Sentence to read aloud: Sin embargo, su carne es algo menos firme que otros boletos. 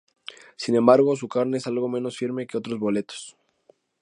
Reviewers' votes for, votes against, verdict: 2, 0, accepted